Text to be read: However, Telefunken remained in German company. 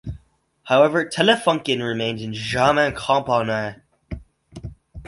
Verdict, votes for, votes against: rejected, 2, 4